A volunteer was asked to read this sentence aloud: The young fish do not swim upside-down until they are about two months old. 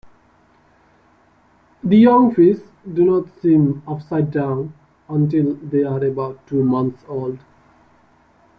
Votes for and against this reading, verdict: 1, 2, rejected